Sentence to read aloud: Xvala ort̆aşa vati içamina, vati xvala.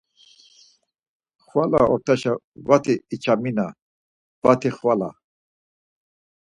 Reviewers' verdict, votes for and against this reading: accepted, 4, 0